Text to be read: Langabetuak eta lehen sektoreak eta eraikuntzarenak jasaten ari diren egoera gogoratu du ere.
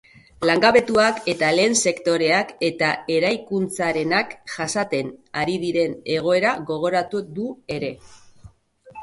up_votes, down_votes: 2, 0